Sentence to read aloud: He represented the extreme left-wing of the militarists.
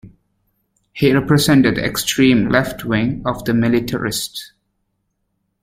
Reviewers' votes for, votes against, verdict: 2, 0, accepted